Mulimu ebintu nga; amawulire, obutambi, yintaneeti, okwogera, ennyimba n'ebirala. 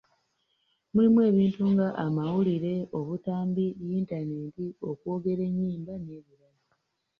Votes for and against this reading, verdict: 0, 2, rejected